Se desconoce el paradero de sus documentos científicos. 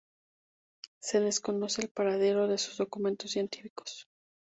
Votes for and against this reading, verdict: 2, 0, accepted